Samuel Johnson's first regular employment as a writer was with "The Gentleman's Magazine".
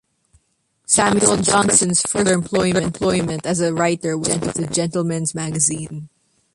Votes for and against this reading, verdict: 1, 2, rejected